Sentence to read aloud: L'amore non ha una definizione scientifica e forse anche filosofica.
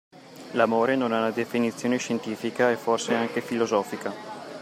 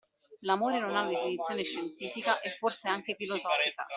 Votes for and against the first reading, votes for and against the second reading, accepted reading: 2, 1, 1, 2, first